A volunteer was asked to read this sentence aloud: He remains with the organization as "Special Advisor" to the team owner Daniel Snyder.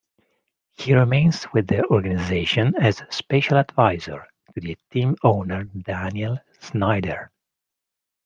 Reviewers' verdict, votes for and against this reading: accepted, 2, 1